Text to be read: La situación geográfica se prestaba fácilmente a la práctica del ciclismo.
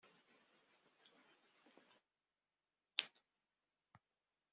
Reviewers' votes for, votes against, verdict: 0, 2, rejected